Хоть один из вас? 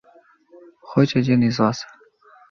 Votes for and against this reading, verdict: 2, 0, accepted